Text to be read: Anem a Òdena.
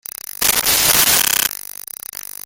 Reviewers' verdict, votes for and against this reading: rejected, 0, 2